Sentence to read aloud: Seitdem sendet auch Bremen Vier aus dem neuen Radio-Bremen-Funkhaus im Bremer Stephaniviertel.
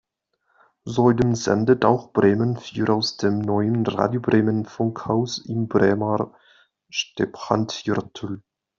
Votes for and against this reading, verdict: 0, 2, rejected